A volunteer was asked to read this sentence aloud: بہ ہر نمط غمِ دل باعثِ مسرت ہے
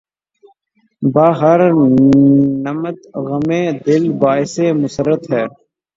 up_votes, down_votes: 0, 3